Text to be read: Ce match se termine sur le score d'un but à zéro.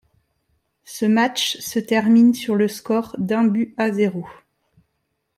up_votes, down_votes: 2, 0